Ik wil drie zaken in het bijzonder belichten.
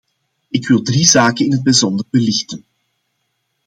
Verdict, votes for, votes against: accepted, 2, 0